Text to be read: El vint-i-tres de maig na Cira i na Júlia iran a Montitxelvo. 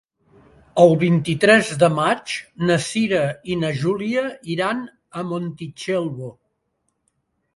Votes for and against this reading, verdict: 2, 0, accepted